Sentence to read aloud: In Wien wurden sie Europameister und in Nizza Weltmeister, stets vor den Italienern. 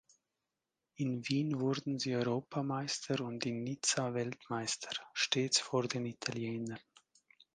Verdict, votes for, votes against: accepted, 2, 0